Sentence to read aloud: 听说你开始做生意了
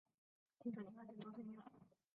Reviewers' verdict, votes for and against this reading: accepted, 2, 0